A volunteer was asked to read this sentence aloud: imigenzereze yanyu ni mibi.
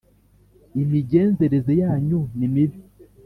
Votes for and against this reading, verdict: 2, 0, accepted